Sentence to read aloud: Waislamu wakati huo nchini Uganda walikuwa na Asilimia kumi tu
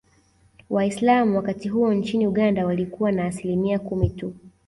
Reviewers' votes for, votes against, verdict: 2, 0, accepted